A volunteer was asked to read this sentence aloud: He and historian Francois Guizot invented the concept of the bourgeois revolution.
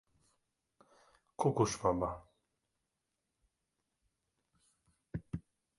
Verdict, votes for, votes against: rejected, 0, 2